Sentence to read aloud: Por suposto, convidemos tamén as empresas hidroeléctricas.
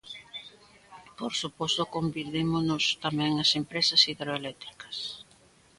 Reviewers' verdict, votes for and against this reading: rejected, 0, 2